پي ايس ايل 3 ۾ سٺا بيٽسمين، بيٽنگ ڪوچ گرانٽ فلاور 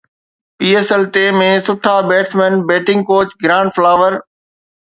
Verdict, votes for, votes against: rejected, 0, 2